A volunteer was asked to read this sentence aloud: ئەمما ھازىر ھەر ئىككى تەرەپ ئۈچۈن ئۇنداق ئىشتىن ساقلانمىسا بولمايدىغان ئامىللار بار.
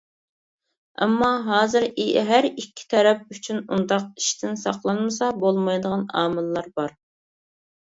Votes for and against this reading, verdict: 1, 2, rejected